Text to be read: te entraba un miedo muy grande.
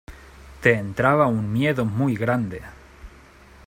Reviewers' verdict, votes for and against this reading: accepted, 2, 0